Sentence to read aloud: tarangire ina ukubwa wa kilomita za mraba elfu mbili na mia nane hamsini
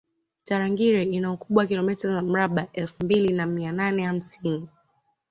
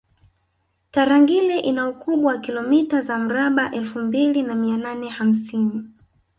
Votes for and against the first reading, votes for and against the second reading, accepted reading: 2, 0, 1, 2, first